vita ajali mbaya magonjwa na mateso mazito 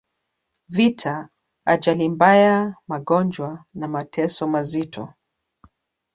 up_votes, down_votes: 2, 1